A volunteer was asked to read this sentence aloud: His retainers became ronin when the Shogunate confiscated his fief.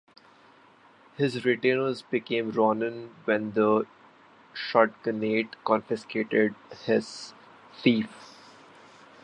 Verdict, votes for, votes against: rejected, 0, 2